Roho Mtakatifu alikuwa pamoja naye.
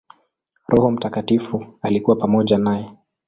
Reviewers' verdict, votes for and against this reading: accepted, 2, 0